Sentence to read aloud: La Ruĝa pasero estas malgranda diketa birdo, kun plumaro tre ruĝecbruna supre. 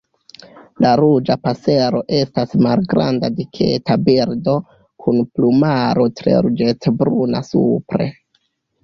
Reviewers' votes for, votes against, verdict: 1, 2, rejected